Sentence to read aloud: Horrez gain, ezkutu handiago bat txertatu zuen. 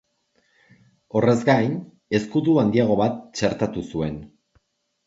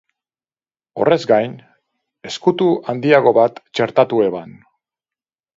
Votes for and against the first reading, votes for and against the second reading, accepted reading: 2, 0, 0, 4, first